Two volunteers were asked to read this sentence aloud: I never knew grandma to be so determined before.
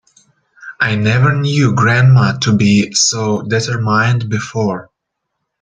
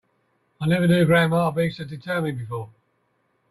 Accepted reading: second